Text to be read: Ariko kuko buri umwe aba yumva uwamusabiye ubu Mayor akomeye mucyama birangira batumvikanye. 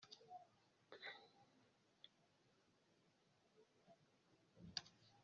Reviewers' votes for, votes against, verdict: 0, 2, rejected